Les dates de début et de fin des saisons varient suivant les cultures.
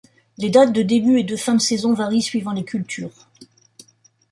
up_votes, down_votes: 0, 2